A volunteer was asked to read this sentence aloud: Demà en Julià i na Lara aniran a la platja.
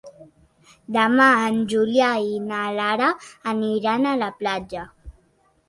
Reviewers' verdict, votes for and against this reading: accepted, 3, 0